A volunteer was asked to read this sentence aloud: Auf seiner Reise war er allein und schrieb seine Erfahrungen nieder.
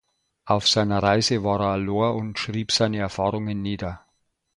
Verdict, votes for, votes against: rejected, 0, 2